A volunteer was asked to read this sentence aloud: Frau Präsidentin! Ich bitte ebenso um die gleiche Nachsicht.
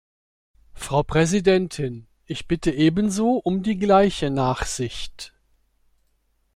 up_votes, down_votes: 1, 2